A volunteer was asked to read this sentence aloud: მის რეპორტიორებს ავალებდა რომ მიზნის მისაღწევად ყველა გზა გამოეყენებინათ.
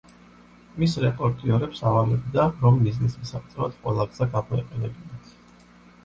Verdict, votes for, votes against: accepted, 2, 0